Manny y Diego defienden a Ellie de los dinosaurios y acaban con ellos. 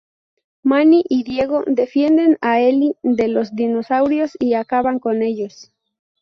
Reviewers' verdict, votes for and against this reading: accepted, 4, 0